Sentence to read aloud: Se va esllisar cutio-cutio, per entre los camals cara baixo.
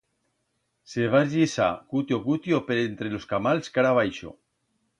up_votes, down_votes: 2, 0